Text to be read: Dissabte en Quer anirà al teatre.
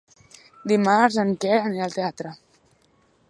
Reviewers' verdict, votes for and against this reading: rejected, 0, 2